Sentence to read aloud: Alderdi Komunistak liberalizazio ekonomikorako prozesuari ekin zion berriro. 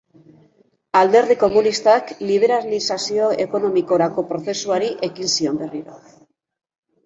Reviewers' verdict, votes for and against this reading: rejected, 1, 2